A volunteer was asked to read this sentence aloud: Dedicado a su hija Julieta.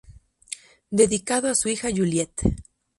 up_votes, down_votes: 2, 0